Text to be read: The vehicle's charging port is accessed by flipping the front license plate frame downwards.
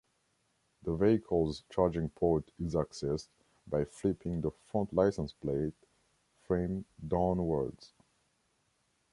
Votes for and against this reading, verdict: 1, 2, rejected